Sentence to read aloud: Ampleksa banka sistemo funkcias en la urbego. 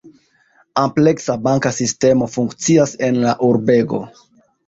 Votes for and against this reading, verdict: 0, 2, rejected